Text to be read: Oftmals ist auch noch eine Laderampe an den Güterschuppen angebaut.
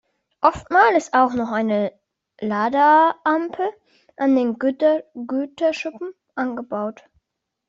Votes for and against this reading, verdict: 0, 2, rejected